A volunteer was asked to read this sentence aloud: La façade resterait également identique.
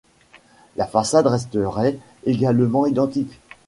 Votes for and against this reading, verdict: 2, 0, accepted